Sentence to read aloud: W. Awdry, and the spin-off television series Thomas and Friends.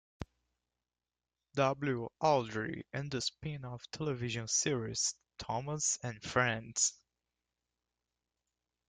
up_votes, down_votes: 2, 1